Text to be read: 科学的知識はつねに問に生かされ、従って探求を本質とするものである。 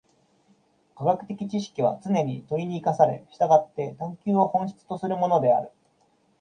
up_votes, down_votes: 0, 2